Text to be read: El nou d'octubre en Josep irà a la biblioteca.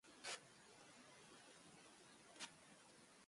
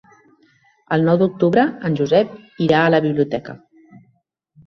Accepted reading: second